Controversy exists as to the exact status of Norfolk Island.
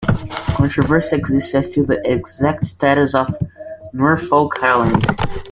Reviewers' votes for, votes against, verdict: 0, 2, rejected